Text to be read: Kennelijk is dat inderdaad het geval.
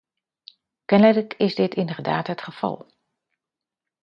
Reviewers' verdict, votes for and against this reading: rejected, 1, 2